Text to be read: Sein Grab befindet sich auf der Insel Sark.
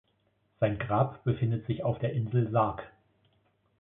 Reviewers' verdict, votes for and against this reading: accepted, 2, 0